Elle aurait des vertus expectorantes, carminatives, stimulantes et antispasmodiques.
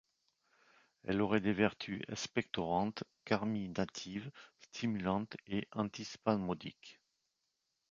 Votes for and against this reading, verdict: 1, 2, rejected